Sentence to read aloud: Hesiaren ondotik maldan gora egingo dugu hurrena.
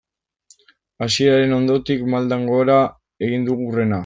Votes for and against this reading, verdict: 0, 2, rejected